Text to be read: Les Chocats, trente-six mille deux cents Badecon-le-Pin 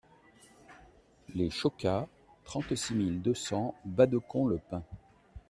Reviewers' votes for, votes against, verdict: 2, 0, accepted